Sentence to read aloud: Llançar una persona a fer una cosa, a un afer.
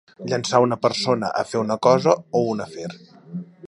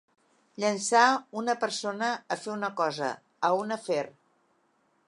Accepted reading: second